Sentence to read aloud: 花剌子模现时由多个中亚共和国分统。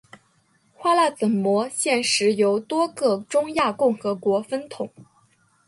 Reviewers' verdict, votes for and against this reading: accepted, 2, 0